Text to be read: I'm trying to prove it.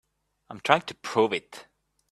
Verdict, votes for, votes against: accepted, 2, 0